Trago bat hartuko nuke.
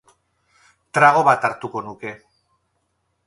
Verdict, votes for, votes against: accepted, 2, 0